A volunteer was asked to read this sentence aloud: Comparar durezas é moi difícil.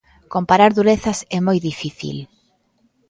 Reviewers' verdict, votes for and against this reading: accepted, 2, 0